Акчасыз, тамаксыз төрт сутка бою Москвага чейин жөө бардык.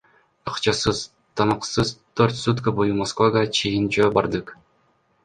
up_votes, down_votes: 1, 2